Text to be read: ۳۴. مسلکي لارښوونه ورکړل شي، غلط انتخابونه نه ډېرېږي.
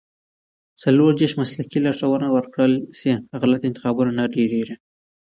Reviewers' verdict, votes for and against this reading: rejected, 0, 2